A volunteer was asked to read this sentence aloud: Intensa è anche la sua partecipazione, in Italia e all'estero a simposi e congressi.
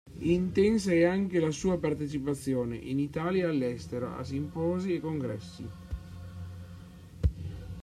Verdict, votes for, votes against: rejected, 0, 2